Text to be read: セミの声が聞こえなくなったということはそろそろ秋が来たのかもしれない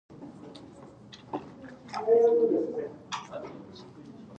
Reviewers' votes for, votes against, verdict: 0, 2, rejected